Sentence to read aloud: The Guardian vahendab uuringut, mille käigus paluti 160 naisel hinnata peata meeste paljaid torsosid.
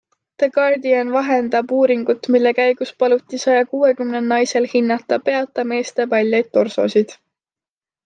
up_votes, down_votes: 0, 2